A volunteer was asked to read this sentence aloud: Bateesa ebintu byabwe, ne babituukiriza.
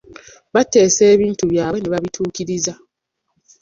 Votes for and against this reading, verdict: 0, 2, rejected